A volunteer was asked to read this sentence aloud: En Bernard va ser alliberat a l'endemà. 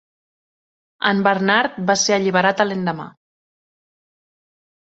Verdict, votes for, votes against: accepted, 4, 0